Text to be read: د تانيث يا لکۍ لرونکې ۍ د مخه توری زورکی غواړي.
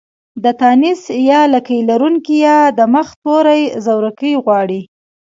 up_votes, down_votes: 1, 2